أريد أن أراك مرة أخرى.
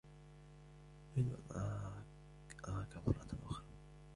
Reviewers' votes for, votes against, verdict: 2, 1, accepted